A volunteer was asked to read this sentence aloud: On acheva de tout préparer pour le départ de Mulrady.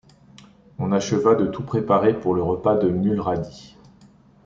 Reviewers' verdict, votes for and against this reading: rejected, 0, 2